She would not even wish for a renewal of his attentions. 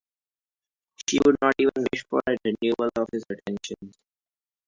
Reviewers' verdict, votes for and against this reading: rejected, 0, 2